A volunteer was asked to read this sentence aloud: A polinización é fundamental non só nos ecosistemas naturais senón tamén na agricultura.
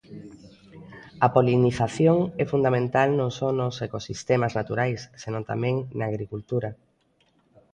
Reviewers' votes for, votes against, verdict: 1, 2, rejected